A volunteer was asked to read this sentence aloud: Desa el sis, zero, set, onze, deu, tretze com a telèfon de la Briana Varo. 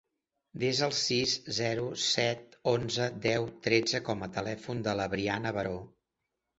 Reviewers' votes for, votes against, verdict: 1, 2, rejected